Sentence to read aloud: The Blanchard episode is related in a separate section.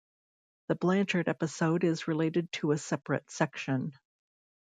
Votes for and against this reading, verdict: 1, 2, rejected